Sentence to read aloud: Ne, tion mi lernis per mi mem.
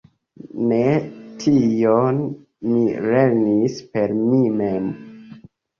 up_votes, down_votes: 2, 0